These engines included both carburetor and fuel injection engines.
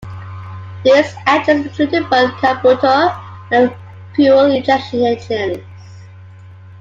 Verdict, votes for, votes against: rejected, 0, 3